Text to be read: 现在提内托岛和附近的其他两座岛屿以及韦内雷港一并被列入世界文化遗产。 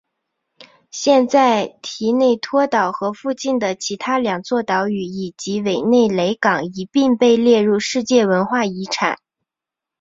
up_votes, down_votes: 2, 0